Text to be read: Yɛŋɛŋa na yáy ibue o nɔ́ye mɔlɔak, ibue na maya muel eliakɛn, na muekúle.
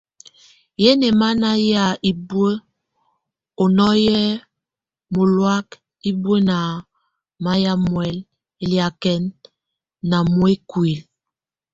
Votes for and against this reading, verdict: 0, 2, rejected